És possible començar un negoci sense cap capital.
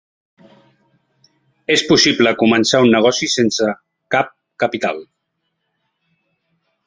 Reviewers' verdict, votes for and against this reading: accepted, 3, 0